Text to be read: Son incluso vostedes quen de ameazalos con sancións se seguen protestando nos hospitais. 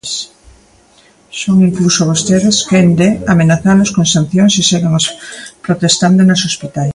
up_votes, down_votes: 0, 2